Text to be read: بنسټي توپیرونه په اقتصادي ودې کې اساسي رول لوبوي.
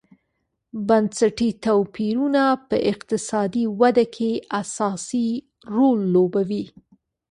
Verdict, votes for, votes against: accepted, 2, 0